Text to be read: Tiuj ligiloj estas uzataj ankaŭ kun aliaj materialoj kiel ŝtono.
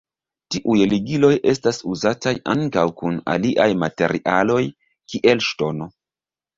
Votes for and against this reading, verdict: 0, 2, rejected